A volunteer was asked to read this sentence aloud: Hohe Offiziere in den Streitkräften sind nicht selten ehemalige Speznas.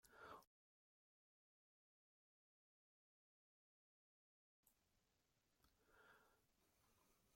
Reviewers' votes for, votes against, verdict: 0, 2, rejected